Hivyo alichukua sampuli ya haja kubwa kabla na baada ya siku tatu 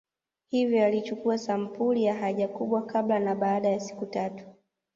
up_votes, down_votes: 2, 0